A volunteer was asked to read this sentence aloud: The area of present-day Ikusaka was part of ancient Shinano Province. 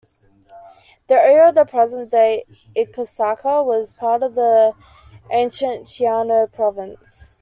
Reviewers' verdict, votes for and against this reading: rejected, 1, 2